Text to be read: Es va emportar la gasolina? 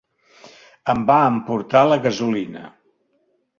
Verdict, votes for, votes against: rejected, 1, 3